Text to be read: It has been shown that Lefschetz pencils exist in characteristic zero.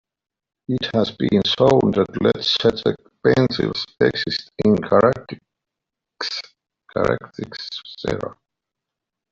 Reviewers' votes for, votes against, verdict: 1, 2, rejected